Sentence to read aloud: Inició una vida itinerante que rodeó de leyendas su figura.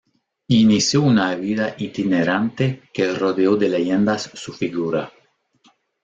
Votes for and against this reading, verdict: 2, 0, accepted